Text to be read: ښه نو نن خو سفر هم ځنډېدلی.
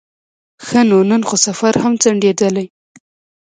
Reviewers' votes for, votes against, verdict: 0, 2, rejected